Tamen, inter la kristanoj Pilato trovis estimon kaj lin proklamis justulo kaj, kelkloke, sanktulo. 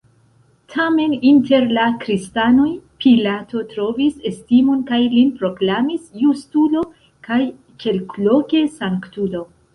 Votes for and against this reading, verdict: 2, 1, accepted